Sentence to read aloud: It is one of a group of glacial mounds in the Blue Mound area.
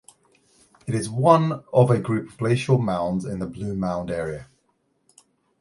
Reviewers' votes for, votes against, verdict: 2, 0, accepted